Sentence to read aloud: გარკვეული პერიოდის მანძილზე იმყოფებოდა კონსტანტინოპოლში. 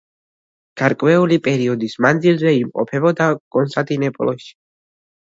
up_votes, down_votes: 2, 0